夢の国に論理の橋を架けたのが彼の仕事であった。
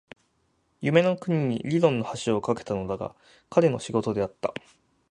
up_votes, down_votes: 0, 6